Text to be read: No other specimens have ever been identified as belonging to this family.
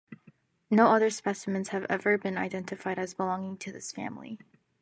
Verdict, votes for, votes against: accepted, 2, 0